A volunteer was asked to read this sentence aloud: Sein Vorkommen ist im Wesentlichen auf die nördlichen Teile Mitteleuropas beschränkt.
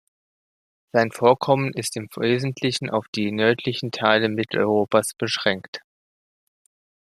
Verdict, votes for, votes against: accepted, 2, 1